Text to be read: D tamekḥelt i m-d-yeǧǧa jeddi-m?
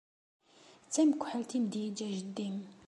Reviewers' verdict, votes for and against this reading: accepted, 2, 0